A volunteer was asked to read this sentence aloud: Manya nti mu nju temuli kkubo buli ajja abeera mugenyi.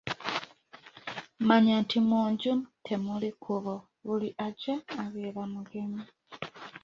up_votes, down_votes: 2, 1